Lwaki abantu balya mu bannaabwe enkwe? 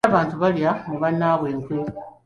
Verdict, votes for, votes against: rejected, 0, 2